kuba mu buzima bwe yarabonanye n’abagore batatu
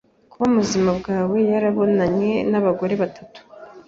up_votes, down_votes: 1, 2